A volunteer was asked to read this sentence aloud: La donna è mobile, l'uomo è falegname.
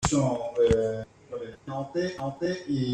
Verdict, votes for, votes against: rejected, 0, 2